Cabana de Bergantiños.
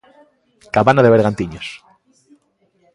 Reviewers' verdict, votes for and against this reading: accepted, 2, 0